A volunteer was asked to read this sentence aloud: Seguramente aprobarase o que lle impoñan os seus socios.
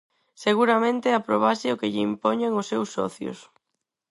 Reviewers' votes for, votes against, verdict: 0, 4, rejected